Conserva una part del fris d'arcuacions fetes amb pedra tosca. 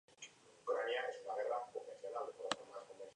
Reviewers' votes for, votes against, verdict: 0, 2, rejected